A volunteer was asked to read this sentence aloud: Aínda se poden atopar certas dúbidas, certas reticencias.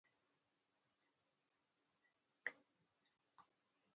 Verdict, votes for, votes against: rejected, 0, 2